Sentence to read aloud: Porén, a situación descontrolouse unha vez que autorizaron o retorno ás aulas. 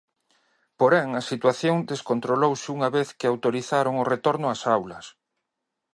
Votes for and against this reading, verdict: 2, 0, accepted